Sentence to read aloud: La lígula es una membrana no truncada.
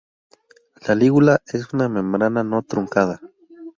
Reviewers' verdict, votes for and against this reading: accepted, 2, 0